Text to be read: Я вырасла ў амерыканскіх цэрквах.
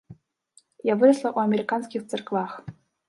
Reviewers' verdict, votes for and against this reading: rejected, 0, 2